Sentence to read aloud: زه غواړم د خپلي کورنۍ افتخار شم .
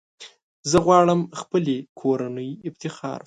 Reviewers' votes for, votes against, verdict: 0, 2, rejected